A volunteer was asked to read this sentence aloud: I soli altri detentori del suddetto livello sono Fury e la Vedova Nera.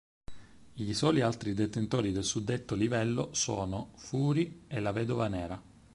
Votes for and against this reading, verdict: 4, 0, accepted